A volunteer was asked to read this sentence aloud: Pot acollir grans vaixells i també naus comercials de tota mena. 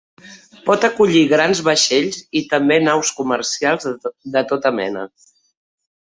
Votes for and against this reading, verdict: 1, 2, rejected